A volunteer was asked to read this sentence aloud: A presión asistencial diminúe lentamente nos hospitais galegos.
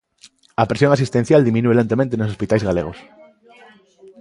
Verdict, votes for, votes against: accepted, 2, 1